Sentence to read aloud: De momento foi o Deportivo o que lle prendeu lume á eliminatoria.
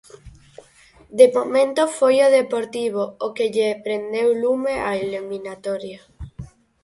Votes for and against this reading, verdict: 4, 0, accepted